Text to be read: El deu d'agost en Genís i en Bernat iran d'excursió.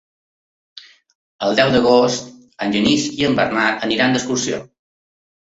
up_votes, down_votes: 1, 2